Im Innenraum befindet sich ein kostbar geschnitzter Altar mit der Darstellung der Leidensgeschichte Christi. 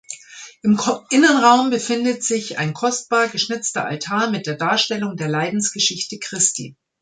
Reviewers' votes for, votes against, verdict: 1, 2, rejected